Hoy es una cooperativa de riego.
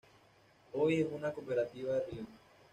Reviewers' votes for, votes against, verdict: 1, 2, rejected